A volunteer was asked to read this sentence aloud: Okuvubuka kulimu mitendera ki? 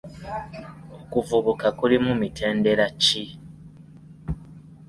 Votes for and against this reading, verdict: 2, 0, accepted